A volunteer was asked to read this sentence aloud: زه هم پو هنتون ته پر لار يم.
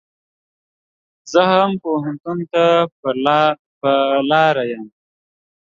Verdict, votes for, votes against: rejected, 1, 2